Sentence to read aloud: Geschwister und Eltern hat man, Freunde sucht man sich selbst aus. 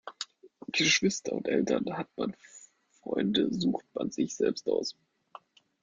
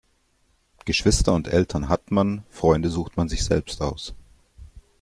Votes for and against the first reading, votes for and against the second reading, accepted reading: 1, 2, 2, 0, second